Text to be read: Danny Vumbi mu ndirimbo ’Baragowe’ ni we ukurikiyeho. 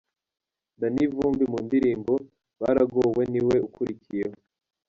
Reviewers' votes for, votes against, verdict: 2, 0, accepted